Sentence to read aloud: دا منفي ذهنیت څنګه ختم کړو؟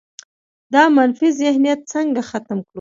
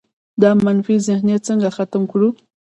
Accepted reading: first